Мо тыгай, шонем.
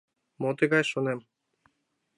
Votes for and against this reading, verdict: 2, 0, accepted